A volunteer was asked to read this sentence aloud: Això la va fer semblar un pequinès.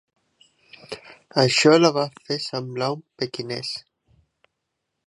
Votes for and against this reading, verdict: 2, 1, accepted